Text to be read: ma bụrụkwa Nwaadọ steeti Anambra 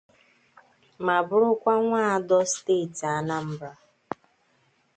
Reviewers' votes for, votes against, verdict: 2, 0, accepted